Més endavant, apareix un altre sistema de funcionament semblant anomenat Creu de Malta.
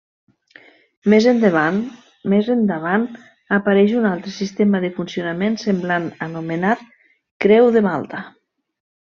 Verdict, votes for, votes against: rejected, 0, 2